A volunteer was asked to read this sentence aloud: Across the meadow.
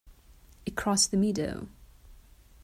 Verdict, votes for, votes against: rejected, 1, 2